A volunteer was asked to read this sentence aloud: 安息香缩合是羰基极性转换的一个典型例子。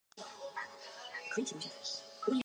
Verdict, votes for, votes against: accepted, 4, 3